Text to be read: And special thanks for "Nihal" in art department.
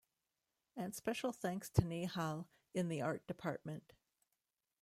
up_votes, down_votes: 0, 2